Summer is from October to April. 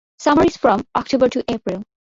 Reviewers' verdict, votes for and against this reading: accepted, 2, 0